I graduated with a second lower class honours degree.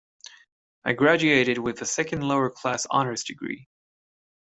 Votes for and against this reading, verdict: 2, 0, accepted